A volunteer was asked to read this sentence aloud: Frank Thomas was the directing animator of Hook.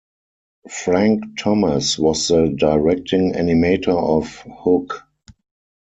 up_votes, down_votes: 4, 0